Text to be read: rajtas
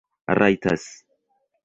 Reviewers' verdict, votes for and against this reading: rejected, 1, 2